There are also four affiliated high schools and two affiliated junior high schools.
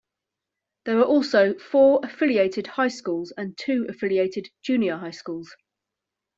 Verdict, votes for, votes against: accepted, 2, 0